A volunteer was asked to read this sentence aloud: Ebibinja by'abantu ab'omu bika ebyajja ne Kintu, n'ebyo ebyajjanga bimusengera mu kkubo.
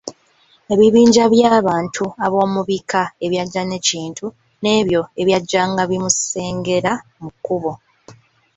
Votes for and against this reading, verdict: 2, 0, accepted